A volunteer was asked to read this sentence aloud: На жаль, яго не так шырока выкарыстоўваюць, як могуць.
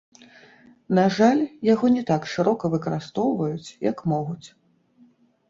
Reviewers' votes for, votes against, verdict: 1, 2, rejected